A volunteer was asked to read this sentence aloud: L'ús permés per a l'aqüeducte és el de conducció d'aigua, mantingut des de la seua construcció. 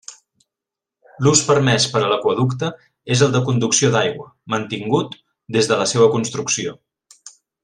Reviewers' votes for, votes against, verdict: 2, 0, accepted